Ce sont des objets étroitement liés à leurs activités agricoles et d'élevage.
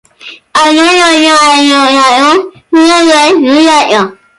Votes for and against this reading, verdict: 0, 2, rejected